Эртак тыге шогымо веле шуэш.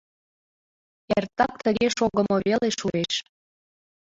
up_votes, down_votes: 2, 1